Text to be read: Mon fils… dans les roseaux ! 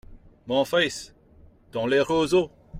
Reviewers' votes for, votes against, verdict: 2, 0, accepted